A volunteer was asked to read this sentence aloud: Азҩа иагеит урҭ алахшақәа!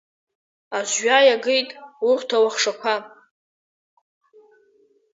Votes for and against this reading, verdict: 0, 2, rejected